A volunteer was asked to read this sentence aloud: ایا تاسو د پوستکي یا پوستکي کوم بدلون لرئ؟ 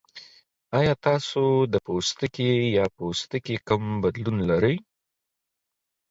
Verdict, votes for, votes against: accepted, 4, 0